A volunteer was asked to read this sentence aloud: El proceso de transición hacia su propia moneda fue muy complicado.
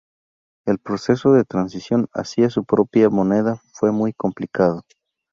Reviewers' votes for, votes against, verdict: 2, 0, accepted